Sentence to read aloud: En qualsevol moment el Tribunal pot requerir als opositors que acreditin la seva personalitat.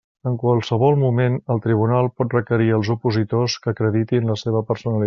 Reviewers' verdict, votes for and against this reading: rejected, 0, 2